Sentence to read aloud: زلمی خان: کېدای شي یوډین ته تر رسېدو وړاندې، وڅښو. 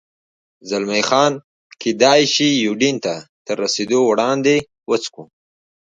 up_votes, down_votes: 2, 1